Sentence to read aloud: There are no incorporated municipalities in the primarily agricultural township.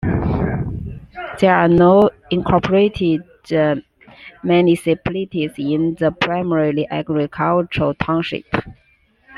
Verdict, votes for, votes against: rejected, 0, 2